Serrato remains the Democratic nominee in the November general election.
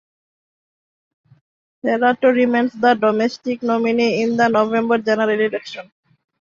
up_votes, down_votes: 0, 2